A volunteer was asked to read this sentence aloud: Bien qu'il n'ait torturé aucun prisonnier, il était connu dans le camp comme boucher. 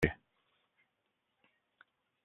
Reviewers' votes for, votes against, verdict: 0, 2, rejected